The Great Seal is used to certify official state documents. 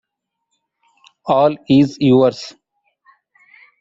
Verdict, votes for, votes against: rejected, 0, 2